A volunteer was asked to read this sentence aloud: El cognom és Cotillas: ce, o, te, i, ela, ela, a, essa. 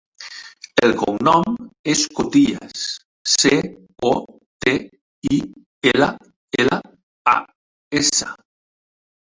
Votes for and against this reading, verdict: 3, 0, accepted